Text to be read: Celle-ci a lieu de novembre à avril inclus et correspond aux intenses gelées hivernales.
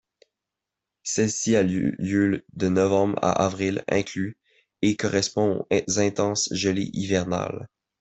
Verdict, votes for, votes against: rejected, 1, 2